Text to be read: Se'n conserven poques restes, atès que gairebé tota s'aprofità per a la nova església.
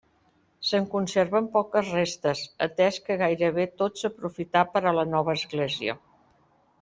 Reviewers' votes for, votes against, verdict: 1, 2, rejected